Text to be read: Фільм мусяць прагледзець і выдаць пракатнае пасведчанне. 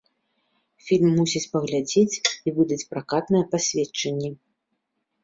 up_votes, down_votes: 2, 0